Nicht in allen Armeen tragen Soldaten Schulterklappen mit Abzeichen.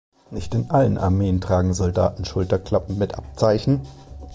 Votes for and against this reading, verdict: 2, 1, accepted